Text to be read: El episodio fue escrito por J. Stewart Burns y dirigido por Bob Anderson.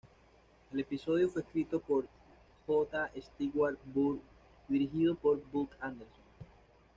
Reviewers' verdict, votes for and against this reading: rejected, 1, 2